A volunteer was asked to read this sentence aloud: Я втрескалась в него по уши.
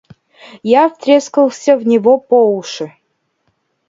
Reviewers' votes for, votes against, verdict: 0, 2, rejected